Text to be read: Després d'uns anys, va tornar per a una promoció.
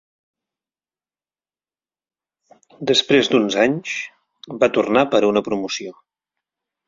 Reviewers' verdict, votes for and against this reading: accepted, 4, 0